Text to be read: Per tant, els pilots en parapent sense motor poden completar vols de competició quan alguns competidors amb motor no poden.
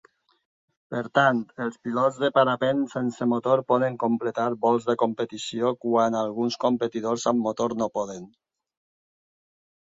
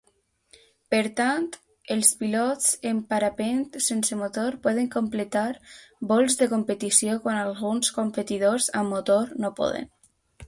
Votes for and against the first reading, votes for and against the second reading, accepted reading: 2, 4, 2, 0, second